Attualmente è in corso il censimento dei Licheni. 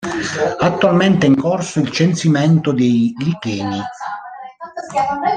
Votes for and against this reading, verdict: 1, 2, rejected